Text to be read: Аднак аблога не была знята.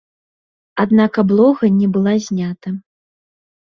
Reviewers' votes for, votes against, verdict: 2, 0, accepted